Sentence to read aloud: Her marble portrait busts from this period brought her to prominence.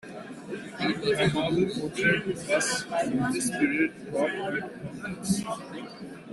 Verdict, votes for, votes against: rejected, 0, 2